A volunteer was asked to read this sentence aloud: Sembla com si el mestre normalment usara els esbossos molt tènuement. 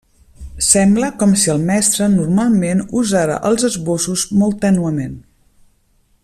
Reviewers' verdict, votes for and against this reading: accepted, 2, 0